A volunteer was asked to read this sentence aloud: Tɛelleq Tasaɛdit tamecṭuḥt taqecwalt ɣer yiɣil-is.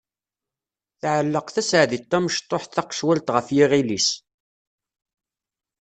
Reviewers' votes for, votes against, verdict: 1, 2, rejected